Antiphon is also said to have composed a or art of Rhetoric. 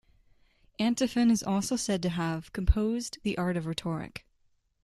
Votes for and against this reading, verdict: 1, 2, rejected